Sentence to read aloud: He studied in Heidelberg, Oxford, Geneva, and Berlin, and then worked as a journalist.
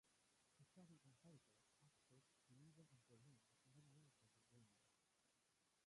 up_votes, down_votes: 0, 2